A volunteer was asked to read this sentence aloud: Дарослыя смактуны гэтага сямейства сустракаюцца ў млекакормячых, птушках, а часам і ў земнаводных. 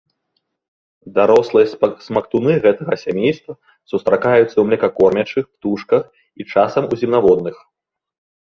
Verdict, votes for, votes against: rejected, 0, 2